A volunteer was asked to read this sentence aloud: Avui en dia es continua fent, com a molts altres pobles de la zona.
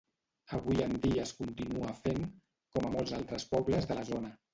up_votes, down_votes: 0, 2